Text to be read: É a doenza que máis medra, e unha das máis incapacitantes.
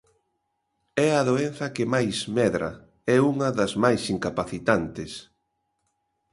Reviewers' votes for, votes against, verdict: 2, 0, accepted